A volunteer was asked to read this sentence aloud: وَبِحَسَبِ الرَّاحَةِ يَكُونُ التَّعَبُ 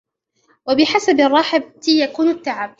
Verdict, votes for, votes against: rejected, 1, 2